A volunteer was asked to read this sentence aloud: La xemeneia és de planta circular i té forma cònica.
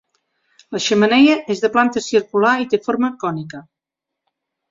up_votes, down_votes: 2, 0